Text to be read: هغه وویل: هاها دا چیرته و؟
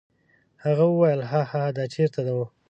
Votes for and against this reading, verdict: 1, 2, rejected